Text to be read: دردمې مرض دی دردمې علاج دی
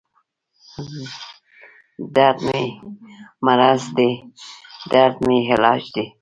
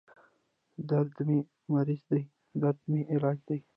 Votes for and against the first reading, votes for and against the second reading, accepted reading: 2, 0, 0, 2, first